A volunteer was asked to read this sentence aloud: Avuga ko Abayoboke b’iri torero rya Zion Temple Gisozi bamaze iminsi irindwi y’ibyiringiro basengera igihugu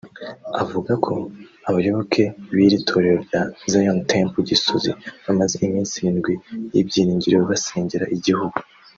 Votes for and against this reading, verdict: 2, 0, accepted